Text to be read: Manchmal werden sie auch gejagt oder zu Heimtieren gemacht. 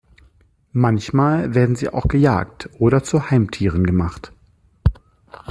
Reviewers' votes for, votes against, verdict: 2, 0, accepted